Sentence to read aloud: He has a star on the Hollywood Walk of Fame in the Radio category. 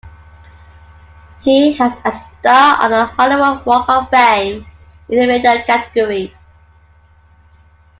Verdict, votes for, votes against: rejected, 0, 2